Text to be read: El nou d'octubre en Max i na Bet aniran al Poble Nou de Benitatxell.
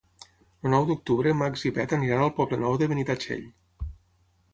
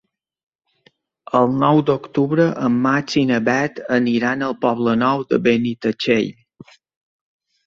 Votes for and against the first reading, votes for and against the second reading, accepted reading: 0, 6, 2, 0, second